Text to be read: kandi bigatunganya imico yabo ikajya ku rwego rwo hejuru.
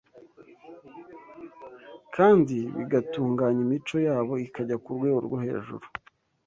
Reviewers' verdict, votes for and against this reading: accepted, 2, 0